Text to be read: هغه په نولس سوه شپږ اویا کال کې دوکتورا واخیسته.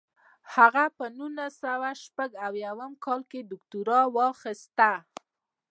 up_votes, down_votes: 0, 2